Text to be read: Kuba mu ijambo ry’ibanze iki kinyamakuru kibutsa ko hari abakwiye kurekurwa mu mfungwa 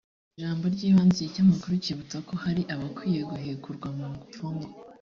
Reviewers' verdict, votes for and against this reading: rejected, 1, 2